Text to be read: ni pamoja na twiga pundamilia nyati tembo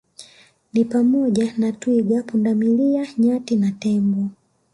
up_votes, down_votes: 2, 1